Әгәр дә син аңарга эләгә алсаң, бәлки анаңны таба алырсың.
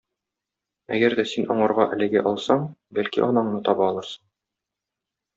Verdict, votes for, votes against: rejected, 1, 2